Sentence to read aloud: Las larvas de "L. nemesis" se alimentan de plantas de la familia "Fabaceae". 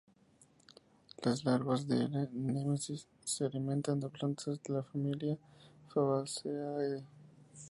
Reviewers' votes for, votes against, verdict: 2, 0, accepted